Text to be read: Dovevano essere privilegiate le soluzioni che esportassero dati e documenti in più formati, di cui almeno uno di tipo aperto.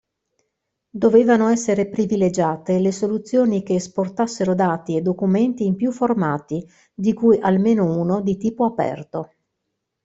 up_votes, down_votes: 2, 0